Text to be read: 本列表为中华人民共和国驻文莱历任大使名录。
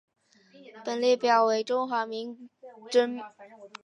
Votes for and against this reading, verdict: 2, 0, accepted